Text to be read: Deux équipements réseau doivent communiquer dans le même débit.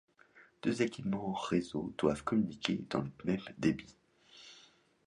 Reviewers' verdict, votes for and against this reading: accepted, 2, 1